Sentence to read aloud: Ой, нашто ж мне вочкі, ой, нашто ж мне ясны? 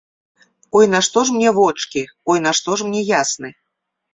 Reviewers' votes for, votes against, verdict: 2, 0, accepted